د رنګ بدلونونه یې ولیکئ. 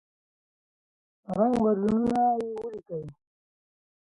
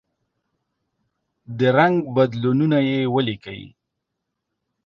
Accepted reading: second